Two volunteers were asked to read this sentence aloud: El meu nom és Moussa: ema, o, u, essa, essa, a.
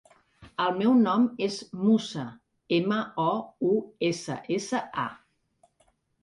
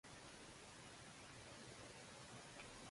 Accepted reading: first